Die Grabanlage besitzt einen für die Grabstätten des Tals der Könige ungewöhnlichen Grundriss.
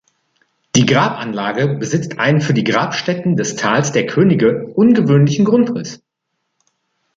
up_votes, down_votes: 1, 2